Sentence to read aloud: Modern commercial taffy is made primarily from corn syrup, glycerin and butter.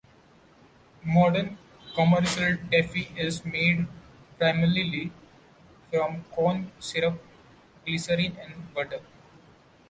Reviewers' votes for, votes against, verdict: 1, 2, rejected